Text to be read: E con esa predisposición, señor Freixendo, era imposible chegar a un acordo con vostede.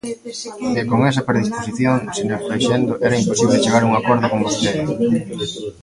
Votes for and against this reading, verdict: 0, 2, rejected